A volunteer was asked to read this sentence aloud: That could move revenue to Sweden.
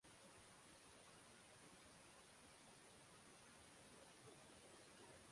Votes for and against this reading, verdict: 0, 6, rejected